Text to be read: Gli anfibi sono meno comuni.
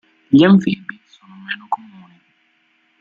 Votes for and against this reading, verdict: 0, 2, rejected